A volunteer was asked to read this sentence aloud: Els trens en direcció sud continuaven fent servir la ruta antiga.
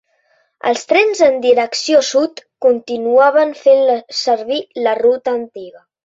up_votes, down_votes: 0, 2